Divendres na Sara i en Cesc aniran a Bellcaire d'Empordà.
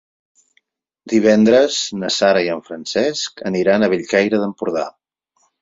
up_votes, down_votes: 2, 4